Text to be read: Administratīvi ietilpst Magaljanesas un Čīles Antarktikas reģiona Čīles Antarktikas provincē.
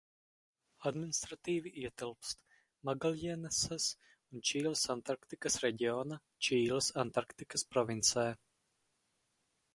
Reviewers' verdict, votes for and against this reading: rejected, 2, 2